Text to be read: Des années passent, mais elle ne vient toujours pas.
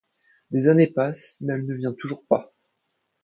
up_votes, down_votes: 2, 0